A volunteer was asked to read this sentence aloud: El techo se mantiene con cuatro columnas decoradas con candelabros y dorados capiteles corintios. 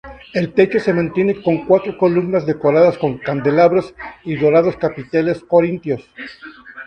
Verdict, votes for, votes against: accepted, 2, 0